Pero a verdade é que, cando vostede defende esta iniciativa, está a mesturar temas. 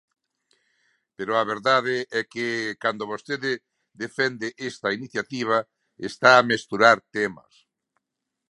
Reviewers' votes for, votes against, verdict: 2, 0, accepted